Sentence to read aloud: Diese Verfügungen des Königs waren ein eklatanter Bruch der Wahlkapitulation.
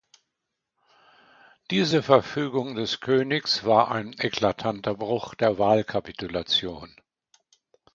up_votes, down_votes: 0, 2